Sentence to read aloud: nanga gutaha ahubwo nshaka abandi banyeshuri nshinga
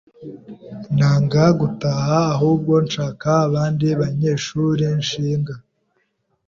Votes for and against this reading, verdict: 2, 0, accepted